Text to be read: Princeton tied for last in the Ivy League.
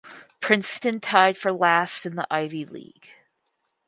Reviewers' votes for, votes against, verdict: 4, 0, accepted